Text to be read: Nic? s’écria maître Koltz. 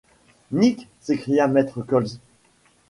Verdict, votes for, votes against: rejected, 1, 2